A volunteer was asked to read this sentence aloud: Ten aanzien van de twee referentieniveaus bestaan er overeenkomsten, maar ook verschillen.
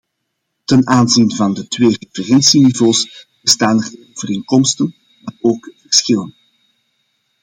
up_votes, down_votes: 0, 2